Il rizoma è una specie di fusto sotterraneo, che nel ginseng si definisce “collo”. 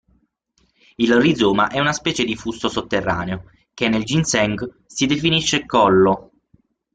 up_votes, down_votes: 0, 6